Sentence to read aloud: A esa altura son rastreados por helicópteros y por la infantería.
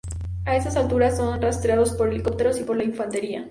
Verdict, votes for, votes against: rejected, 2, 2